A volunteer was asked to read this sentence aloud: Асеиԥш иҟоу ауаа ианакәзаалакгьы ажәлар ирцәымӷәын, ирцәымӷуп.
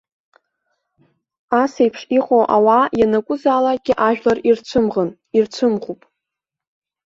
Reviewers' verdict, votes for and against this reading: accepted, 2, 0